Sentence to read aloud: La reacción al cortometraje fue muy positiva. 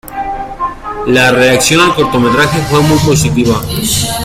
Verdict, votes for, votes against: accepted, 2, 0